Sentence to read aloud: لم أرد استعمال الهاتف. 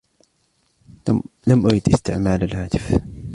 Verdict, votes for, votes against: accepted, 2, 1